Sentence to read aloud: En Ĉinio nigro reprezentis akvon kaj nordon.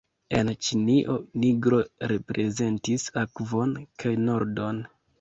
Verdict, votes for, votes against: accepted, 2, 0